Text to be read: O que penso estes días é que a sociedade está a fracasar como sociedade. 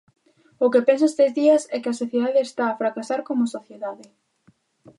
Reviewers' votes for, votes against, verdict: 2, 0, accepted